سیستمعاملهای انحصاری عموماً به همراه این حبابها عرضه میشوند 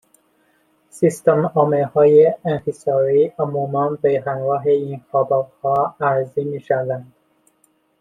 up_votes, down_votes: 2, 0